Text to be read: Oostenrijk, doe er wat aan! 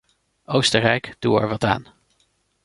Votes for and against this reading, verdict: 0, 2, rejected